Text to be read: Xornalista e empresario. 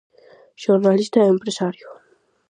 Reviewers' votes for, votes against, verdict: 4, 0, accepted